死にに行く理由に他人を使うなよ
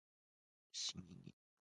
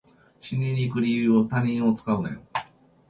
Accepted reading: second